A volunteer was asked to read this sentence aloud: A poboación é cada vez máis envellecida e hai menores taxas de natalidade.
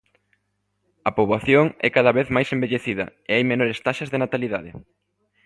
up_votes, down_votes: 2, 0